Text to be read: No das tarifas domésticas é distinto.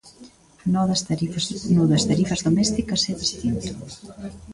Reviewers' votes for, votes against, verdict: 0, 2, rejected